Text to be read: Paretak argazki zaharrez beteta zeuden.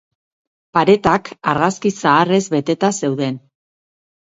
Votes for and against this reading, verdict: 4, 0, accepted